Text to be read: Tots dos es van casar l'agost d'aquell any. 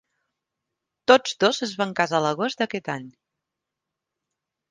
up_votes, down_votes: 1, 3